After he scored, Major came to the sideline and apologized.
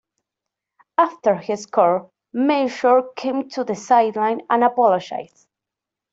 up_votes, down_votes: 0, 2